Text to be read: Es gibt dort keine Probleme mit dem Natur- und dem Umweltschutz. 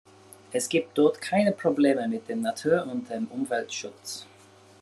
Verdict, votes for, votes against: accepted, 2, 0